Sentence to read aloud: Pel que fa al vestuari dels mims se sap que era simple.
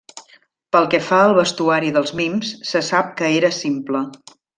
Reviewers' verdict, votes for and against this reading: accepted, 3, 0